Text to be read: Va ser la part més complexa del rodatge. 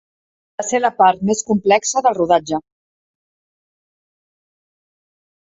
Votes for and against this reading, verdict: 1, 2, rejected